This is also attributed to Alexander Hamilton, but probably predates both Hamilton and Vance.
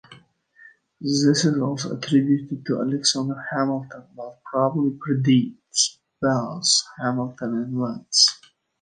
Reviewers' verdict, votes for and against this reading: accepted, 2, 0